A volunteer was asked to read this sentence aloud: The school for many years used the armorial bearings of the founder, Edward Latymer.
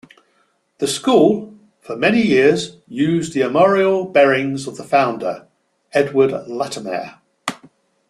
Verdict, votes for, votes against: accepted, 2, 0